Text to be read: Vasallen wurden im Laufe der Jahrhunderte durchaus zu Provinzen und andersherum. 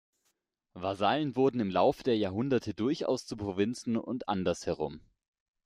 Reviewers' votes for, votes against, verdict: 2, 0, accepted